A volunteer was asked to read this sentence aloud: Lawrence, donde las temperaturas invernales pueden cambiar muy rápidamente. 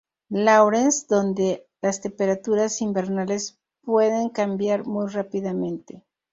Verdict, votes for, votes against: rejected, 0, 2